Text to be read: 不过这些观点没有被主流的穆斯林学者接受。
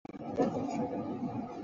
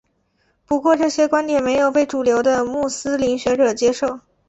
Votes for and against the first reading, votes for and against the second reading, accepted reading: 3, 7, 3, 1, second